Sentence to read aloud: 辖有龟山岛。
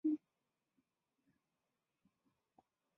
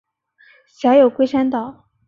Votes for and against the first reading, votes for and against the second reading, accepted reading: 3, 5, 3, 0, second